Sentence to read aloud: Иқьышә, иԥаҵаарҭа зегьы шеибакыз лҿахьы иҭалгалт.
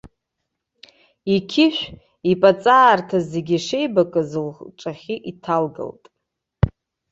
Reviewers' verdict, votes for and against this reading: rejected, 0, 2